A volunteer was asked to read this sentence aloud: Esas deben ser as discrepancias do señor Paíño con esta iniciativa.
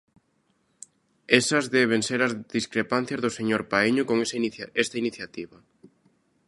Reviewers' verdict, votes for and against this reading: rejected, 0, 2